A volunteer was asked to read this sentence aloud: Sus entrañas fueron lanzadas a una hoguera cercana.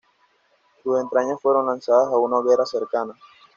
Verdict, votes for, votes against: accepted, 2, 0